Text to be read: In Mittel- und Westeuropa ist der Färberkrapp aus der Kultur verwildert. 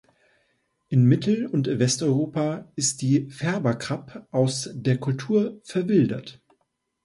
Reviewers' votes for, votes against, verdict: 0, 2, rejected